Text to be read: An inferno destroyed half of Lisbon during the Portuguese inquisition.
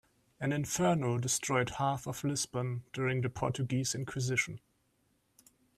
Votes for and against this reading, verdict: 3, 0, accepted